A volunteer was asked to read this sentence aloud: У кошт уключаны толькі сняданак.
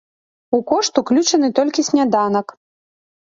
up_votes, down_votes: 3, 0